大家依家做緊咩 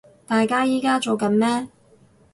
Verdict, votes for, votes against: accepted, 2, 0